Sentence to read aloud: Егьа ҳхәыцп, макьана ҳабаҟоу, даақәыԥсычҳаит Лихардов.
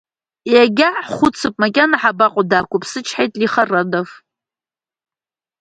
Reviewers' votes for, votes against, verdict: 1, 2, rejected